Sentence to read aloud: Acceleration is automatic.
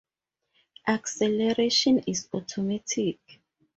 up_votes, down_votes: 2, 2